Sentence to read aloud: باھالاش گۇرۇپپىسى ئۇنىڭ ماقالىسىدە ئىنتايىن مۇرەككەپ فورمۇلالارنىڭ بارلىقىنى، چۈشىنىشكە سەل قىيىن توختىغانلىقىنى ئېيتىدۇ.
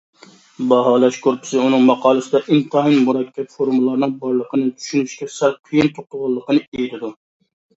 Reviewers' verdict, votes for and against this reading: rejected, 0, 2